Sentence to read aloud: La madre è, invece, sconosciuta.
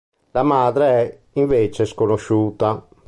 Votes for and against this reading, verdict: 2, 0, accepted